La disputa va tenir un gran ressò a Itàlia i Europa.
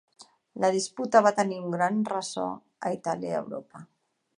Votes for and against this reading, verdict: 3, 0, accepted